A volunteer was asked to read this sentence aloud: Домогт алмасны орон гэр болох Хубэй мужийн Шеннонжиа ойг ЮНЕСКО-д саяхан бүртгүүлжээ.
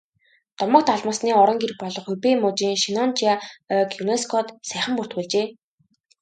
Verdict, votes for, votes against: accepted, 2, 0